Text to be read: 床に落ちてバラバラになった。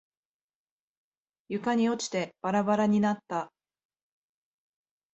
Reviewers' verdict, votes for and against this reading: accepted, 2, 0